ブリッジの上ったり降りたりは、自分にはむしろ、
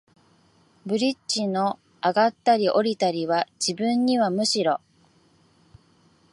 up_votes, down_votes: 7, 0